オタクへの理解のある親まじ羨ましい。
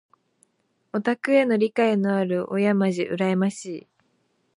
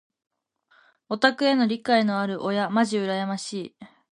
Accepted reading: second